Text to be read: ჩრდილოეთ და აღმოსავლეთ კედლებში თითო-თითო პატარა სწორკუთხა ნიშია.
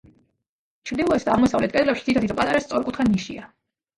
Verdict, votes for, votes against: accepted, 2, 1